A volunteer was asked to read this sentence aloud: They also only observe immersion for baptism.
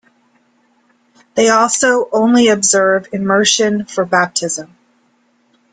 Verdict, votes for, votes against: accepted, 2, 0